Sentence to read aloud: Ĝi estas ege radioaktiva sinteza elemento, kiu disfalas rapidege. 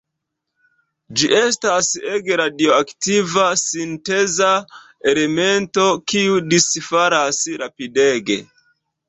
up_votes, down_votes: 2, 0